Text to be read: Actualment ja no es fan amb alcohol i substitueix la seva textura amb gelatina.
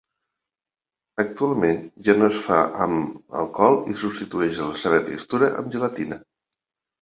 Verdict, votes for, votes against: rejected, 0, 2